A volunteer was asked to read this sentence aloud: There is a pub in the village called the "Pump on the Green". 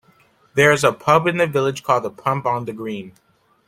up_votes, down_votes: 2, 0